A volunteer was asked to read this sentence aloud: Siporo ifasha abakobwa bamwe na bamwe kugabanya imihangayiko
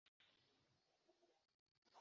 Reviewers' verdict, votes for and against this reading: rejected, 0, 2